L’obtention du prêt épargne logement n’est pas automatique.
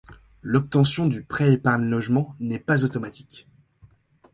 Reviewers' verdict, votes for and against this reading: accepted, 2, 0